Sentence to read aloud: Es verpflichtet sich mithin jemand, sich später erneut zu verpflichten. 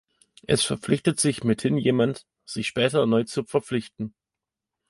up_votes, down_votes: 3, 0